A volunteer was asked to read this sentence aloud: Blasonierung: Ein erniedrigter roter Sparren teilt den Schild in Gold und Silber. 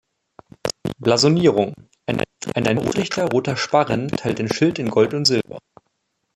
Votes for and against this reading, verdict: 0, 2, rejected